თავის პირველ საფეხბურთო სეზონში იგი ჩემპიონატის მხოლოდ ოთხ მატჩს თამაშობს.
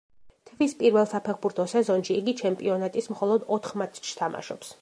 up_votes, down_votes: 1, 2